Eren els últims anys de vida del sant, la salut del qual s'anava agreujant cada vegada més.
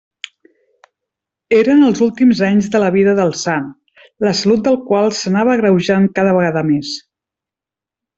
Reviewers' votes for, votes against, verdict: 0, 2, rejected